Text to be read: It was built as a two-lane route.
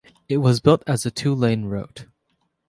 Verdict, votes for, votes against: accepted, 3, 0